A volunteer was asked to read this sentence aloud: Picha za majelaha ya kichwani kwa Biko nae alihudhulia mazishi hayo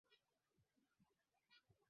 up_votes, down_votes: 0, 2